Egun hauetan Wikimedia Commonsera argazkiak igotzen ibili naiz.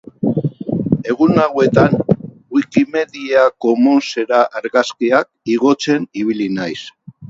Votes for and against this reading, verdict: 4, 0, accepted